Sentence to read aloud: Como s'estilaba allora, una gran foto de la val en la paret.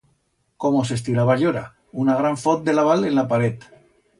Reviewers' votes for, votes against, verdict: 1, 2, rejected